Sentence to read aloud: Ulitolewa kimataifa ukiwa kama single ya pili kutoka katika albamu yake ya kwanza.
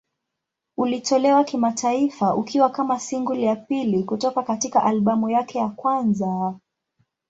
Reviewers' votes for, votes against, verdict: 2, 0, accepted